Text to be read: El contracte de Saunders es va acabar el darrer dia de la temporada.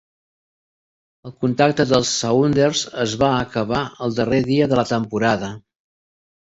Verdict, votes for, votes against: accepted, 2, 0